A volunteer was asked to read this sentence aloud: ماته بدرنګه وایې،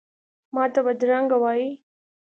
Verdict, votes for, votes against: accepted, 2, 0